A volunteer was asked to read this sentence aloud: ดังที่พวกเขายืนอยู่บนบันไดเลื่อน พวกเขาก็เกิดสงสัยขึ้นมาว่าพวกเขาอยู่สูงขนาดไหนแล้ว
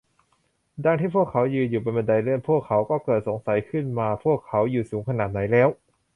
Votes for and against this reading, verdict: 1, 2, rejected